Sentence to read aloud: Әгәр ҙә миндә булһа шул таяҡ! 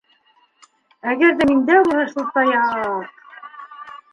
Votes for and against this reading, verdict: 0, 2, rejected